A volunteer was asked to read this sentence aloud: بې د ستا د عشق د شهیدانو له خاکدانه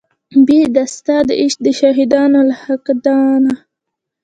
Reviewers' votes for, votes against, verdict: 2, 0, accepted